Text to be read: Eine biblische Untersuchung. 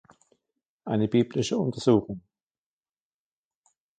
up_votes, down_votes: 2, 0